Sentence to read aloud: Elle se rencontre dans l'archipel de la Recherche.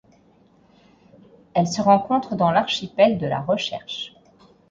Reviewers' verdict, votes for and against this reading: accepted, 4, 0